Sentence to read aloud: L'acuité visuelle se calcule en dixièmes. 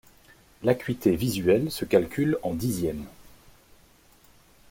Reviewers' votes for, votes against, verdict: 2, 0, accepted